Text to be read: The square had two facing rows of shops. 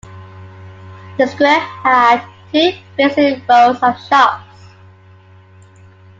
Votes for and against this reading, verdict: 1, 2, rejected